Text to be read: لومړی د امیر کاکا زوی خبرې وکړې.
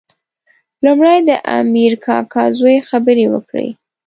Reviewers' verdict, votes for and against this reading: accepted, 2, 1